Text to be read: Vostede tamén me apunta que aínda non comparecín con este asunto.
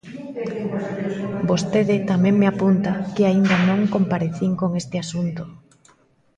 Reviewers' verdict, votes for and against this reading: rejected, 1, 2